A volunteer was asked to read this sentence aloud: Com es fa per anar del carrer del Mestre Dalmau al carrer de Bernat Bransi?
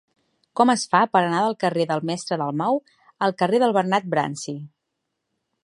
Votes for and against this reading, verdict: 1, 2, rejected